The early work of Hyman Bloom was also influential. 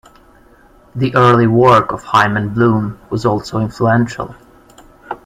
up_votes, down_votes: 2, 0